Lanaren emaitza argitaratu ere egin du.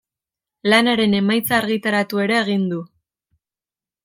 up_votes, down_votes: 2, 0